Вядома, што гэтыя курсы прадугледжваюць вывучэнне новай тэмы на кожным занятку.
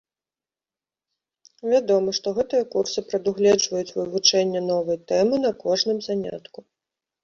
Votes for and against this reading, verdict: 2, 0, accepted